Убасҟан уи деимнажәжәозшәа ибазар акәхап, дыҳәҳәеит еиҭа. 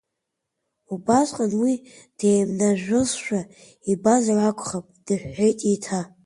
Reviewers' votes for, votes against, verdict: 2, 1, accepted